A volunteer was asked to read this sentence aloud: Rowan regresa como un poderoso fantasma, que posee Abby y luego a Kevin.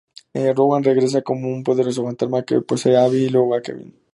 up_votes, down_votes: 2, 2